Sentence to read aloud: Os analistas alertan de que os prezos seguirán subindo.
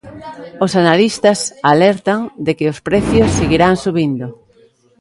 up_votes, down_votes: 0, 2